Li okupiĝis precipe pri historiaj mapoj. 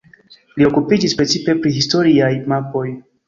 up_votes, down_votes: 0, 2